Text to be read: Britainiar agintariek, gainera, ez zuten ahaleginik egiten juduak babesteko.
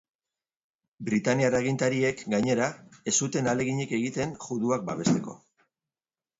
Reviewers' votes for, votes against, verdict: 2, 0, accepted